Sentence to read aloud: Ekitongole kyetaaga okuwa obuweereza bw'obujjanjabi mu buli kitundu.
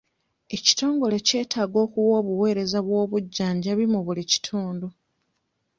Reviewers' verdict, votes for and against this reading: rejected, 1, 2